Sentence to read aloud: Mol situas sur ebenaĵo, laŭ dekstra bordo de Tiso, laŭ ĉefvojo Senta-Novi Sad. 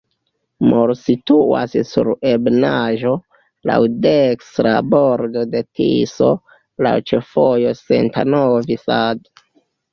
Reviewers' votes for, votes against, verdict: 0, 2, rejected